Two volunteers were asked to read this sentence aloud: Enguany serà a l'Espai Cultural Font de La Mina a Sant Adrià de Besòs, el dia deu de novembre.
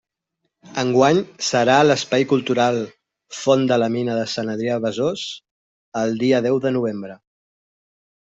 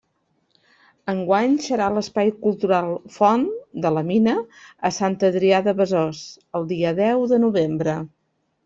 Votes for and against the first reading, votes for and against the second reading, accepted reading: 0, 2, 2, 0, second